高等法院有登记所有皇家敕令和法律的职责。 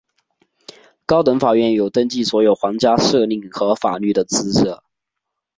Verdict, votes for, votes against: accepted, 3, 1